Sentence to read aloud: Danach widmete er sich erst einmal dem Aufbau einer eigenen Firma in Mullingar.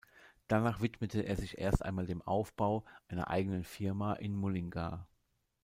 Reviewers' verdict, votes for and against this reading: accepted, 2, 1